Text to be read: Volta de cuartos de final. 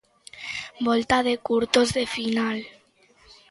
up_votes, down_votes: 0, 2